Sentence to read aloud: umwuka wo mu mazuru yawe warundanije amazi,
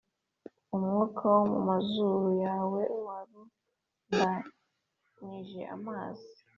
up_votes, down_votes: 3, 0